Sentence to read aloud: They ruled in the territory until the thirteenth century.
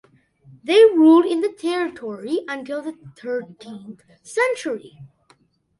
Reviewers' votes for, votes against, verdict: 2, 0, accepted